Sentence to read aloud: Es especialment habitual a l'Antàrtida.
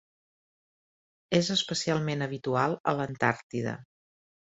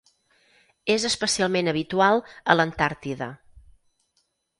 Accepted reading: second